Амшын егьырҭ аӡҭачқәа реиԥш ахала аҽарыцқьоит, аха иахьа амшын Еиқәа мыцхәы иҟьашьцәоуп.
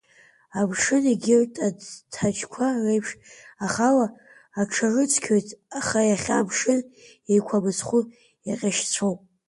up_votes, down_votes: 2, 0